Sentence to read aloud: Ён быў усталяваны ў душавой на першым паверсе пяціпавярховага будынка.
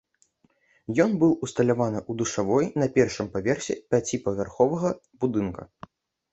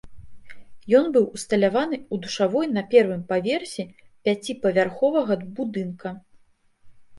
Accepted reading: first